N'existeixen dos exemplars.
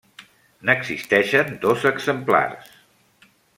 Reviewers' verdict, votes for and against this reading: accepted, 3, 0